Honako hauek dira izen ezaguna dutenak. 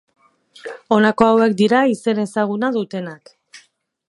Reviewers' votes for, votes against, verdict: 2, 2, rejected